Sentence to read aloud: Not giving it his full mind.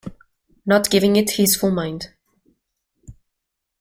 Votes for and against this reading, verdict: 0, 2, rejected